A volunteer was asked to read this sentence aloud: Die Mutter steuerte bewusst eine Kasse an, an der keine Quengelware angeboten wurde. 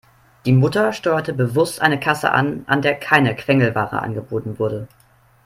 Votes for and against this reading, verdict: 3, 0, accepted